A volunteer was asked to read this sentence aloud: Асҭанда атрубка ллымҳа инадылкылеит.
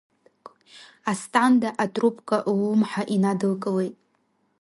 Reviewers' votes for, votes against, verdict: 2, 0, accepted